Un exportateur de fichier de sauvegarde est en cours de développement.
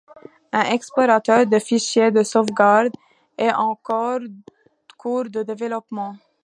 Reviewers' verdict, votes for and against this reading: rejected, 1, 2